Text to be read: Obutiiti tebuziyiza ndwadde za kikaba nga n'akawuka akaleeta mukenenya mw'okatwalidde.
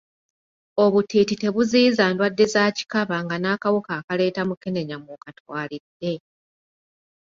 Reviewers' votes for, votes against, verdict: 0, 2, rejected